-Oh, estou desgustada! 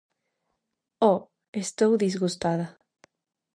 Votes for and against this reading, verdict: 0, 2, rejected